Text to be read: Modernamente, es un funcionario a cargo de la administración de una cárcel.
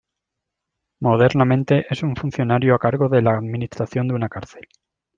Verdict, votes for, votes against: accepted, 2, 0